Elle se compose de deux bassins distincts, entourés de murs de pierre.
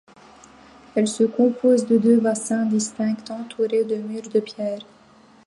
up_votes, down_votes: 0, 2